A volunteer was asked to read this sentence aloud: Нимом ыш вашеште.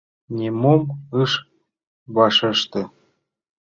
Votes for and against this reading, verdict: 3, 0, accepted